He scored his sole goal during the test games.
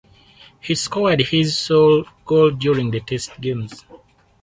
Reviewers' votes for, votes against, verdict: 0, 4, rejected